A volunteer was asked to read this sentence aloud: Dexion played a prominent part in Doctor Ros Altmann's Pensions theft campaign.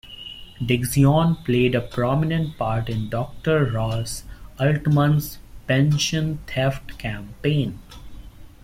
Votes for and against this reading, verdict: 0, 2, rejected